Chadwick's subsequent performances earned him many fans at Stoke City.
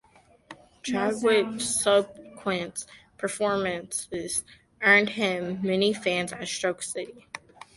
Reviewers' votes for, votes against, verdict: 0, 2, rejected